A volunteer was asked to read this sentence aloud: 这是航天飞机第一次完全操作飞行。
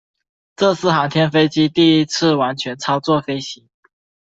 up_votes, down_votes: 2, 0